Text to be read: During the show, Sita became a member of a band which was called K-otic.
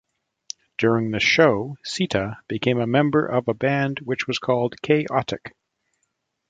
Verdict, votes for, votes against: rejected, 1, 2